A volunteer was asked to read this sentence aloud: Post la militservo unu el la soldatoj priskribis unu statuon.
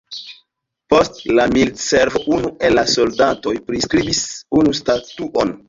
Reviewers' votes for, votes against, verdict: 2, 1, accepted